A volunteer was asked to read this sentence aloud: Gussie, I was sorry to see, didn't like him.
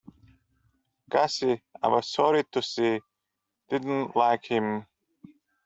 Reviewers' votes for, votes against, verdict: 2, 0, accepted